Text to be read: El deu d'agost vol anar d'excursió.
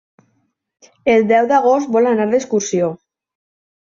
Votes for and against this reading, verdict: 5, 0, accepted